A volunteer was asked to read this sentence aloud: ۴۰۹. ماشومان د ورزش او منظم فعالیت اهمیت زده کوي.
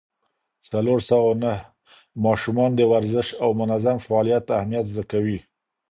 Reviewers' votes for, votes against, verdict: 0, 2, rejected